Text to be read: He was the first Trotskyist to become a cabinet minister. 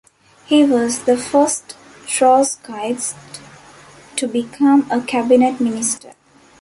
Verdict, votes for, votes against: rejected, 1, 2